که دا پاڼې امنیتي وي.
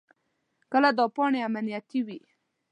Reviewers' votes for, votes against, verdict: 1, 2, rejected